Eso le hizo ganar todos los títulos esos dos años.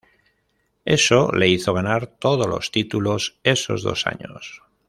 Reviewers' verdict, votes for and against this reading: accepted, 2, 0